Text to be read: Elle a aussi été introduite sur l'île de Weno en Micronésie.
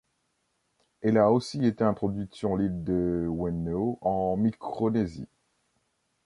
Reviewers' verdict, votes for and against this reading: rejected, 1, 2